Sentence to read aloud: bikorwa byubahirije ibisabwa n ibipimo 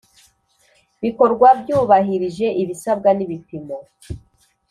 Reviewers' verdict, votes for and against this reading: accepted, 2, 0